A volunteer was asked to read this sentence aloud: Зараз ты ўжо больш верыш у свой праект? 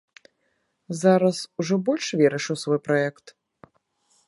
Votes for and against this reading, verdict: 0, 2, rejected